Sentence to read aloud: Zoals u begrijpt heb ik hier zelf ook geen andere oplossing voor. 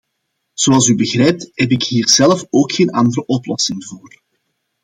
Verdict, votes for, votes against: accepted, 2, 0